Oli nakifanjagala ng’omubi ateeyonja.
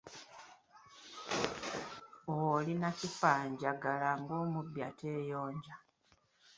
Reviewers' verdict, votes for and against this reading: accepted, 2, 1